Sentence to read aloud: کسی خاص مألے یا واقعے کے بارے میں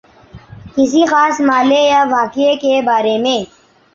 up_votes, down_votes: 2, 1